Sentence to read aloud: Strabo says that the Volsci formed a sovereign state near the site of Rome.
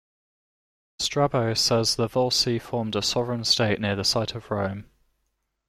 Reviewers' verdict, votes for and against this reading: rejected, 0, 2